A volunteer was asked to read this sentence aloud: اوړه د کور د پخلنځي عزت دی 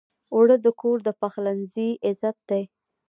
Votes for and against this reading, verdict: 3, 0, accepted